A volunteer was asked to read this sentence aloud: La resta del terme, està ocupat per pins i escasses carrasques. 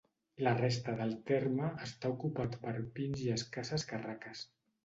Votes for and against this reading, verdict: 1, 2, rejected